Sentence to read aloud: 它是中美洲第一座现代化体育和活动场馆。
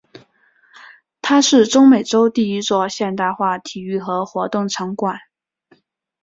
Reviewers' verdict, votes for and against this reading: accepted, 2, 0